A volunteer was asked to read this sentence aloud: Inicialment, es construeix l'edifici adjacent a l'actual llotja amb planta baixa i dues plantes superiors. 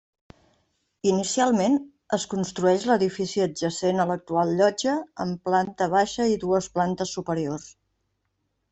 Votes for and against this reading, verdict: 2, 0, accepted